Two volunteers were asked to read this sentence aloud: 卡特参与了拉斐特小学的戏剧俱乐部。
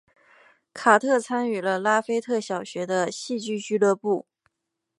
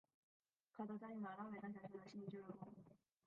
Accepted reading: first